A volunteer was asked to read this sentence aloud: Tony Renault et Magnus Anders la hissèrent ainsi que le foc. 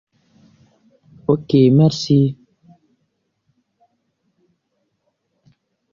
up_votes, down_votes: 0, 2